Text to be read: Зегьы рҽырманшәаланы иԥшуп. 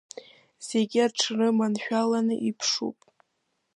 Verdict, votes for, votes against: rejected, 1, 2